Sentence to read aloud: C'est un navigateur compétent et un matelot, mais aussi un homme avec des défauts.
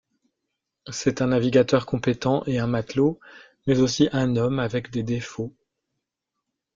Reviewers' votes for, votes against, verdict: 2, 0, accepted